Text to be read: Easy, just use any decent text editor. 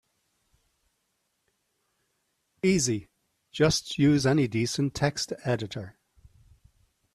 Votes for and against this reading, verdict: 2, 0, accepted